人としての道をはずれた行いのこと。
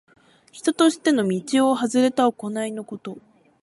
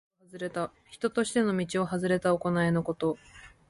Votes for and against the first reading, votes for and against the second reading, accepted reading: 0, 2, 3, 1, second